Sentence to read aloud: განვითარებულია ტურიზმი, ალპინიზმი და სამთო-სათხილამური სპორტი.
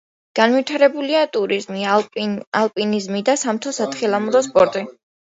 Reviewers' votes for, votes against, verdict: 1, 2, rejected